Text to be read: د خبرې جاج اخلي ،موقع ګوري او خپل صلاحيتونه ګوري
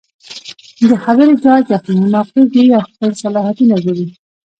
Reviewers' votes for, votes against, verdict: 2, 0, accepted